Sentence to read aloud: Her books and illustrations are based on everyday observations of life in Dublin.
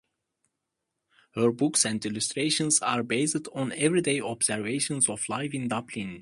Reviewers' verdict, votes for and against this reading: accepted, 2, 0